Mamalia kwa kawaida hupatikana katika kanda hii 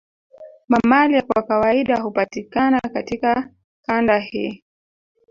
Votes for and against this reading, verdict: 0, 2, rejected